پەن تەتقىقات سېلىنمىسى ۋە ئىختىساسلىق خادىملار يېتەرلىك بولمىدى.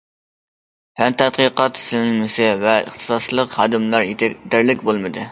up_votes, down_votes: 0, 2